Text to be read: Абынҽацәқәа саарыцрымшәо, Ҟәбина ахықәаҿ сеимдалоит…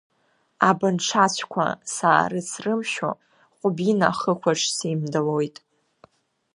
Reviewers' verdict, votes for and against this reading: accepted, 3, 0